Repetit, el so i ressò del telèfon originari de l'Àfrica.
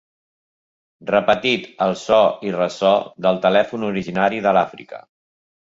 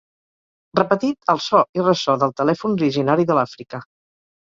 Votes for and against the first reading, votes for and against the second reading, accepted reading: 3, 0, 2, 4, first